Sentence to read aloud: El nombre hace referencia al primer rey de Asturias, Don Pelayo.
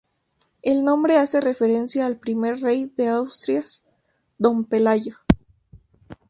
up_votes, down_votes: 0, 2